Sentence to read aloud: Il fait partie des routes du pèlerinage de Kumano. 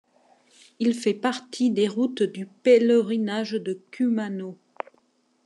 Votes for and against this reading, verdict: 2, 0, accepted